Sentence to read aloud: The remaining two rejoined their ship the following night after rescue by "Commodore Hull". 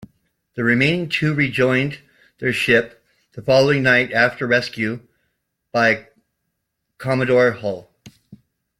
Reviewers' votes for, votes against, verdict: 2, 0, accepted